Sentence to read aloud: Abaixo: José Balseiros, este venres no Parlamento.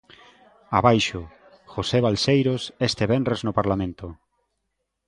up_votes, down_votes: 2, 0